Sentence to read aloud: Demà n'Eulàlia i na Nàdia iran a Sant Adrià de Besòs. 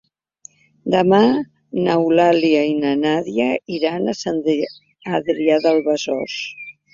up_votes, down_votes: 0, 2